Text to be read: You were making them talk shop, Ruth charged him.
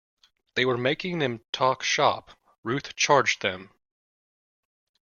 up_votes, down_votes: 0, 2